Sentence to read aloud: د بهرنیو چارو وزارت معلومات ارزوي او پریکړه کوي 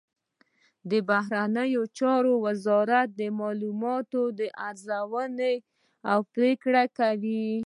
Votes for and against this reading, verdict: 0, 2, rejected